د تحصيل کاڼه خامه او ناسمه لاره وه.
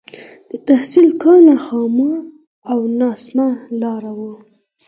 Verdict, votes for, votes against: accepted, 4, 0